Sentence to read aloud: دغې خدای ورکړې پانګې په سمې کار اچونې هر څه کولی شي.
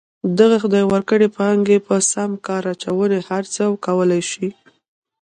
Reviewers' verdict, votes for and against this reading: rejected, 0, 2